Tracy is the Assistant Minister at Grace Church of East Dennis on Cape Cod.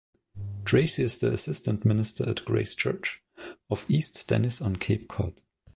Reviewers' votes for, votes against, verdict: 2, 0, accepted